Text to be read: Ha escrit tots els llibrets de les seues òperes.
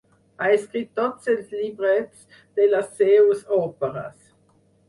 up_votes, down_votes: 6, 0